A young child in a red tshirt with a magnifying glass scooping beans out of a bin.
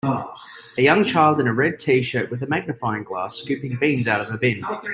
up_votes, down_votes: 2, 1